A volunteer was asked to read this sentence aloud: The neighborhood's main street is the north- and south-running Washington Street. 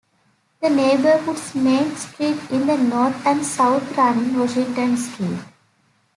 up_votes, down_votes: 2, 0